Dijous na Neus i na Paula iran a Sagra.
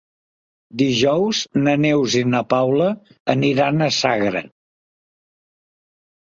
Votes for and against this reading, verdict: 0, 2, rejected